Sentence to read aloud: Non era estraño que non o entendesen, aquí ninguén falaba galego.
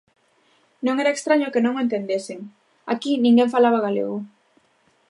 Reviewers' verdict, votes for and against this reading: rejected, 0, 2